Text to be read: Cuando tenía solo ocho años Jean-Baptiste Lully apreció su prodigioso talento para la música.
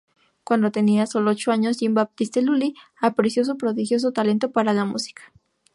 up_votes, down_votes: 2, 0